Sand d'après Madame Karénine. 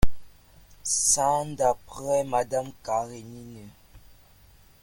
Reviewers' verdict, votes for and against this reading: rejected, 0, 2